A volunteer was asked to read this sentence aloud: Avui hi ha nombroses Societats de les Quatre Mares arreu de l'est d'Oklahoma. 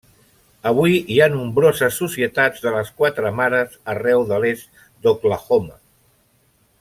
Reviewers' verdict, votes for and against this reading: accepted, 3, 0